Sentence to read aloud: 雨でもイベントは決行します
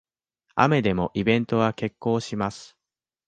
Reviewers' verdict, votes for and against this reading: accepted, 2, 0